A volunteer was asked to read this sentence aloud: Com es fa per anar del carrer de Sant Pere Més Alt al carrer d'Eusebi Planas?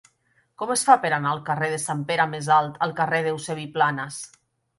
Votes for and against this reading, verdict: 1, 2, rejected